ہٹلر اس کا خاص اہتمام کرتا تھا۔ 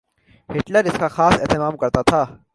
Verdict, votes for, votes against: accepted, 3, 0